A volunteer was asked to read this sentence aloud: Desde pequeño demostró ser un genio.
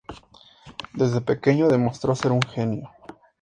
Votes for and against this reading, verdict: 4, 0, accepted